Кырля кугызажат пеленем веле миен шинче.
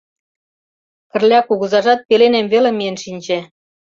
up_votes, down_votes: 2, 0